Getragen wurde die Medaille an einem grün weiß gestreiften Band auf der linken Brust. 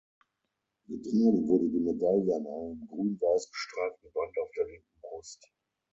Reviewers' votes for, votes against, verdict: 0, 3, rejected